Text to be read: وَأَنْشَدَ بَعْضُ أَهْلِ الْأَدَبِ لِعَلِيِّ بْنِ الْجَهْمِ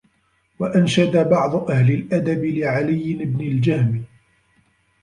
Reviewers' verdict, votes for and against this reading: rejected, 1, 2